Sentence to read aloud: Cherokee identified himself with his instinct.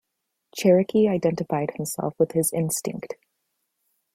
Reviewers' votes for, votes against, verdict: 2, 0, accepted